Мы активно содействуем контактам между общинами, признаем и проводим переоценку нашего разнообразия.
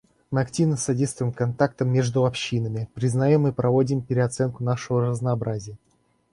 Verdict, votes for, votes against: accepted, 2, 0